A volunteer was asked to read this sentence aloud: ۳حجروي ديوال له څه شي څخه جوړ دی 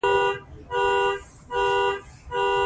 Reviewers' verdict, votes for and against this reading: rejected, 0, 2